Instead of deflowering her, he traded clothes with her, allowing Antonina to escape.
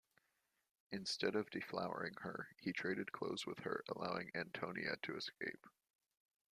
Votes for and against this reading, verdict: 1, 2, rejected